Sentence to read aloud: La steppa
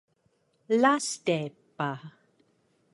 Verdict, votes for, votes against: rejected, 1, 2